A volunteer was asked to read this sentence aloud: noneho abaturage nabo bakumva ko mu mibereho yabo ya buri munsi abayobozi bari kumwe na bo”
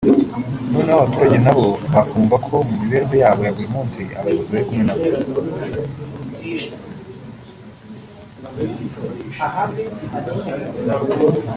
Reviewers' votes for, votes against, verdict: 0, 2, rejected